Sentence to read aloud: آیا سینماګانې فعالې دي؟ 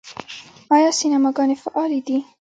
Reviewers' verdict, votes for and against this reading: accepted, 2, 0